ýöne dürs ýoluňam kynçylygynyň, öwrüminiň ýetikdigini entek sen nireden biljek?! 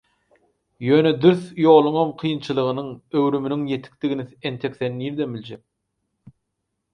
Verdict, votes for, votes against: rejected, 0, 4